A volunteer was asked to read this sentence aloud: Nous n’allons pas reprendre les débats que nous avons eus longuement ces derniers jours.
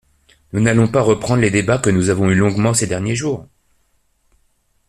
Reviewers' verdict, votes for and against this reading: accepted, 2, 0